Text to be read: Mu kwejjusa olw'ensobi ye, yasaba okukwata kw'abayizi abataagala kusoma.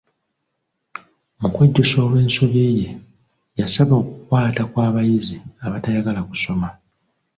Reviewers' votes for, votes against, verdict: 1, 2, rejected